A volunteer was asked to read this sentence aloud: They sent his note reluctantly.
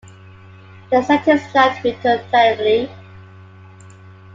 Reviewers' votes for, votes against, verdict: 0, 2, rejected